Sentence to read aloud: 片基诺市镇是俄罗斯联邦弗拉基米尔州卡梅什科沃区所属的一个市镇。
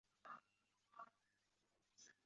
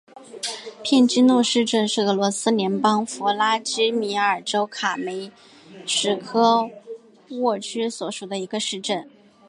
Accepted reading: second